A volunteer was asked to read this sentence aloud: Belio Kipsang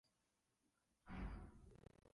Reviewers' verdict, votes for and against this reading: rejected, 0, 2